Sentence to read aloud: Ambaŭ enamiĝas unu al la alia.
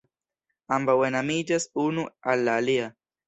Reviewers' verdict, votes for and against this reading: accepted, 2, 0